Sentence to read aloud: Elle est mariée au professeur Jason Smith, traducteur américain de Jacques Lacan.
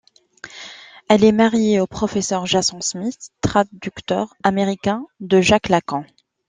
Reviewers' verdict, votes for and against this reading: accepted, 2, 0